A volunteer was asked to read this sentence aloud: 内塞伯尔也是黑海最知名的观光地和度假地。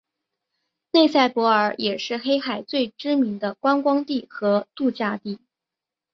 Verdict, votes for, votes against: accepted, 3, 0